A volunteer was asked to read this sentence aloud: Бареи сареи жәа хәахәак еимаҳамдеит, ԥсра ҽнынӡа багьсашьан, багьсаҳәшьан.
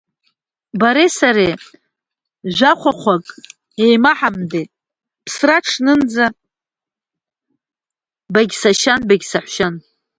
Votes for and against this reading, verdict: 2, 0, accepted